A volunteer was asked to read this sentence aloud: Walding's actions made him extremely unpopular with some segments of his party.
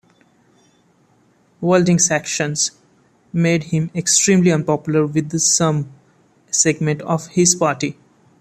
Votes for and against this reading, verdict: 0, 2, rejected